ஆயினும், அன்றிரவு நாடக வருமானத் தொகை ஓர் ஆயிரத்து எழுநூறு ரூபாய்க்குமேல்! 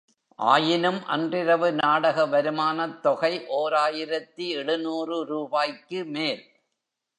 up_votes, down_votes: 2, 0